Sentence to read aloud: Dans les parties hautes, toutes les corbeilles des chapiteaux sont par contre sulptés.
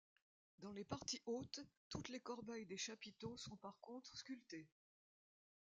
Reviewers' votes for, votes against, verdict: 2, 0, accepted